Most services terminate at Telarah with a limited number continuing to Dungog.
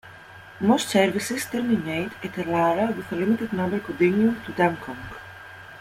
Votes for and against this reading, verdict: 2, 0, accepted